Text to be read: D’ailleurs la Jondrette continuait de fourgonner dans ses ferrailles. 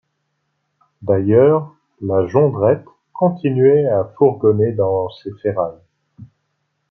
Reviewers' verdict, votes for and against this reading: rejected, 1, 2